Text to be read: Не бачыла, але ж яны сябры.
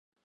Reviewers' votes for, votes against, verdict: 0, 2, rejected